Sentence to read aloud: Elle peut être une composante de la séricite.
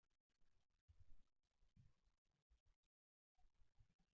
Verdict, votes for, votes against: rejected, 0, 2